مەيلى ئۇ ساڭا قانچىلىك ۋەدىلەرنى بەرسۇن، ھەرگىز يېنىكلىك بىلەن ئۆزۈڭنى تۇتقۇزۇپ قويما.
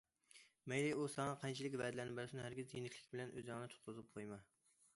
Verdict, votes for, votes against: accepted, 2, 0